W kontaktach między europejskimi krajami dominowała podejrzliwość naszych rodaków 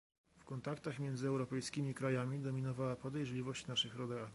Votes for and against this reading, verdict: 0, 2, rejected